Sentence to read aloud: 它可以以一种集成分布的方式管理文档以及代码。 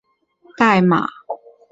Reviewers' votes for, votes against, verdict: 0, 4, rejected